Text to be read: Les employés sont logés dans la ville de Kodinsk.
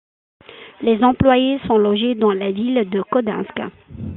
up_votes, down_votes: 2, 0